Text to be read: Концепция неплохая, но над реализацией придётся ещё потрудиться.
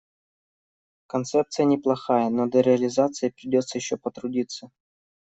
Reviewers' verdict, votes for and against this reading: rejected, 0, 2